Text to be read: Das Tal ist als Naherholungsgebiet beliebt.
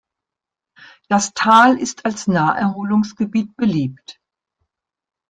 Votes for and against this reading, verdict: 2, 0, accepted